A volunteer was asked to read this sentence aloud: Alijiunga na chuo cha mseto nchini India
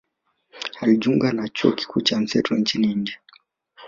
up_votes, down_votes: 2, 4